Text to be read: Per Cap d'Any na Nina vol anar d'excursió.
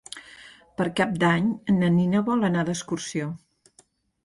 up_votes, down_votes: 2, 0